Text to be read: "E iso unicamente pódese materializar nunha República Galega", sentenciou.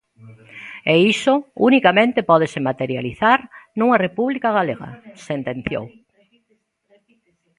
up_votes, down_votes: 1, 2